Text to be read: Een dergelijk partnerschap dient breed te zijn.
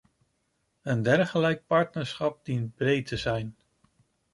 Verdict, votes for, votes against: accepted, 2, 0